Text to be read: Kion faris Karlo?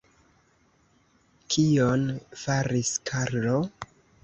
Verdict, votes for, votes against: rejected, 1, 2